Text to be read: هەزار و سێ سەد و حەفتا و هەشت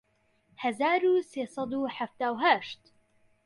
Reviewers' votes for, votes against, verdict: 2, 0, accepted